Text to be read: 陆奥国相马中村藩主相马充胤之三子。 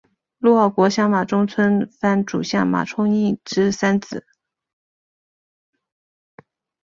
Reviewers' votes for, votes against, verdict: 4, 0, accepted